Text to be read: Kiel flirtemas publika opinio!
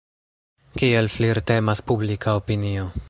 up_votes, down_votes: 1, 2